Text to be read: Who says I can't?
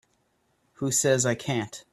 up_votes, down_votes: 2, 0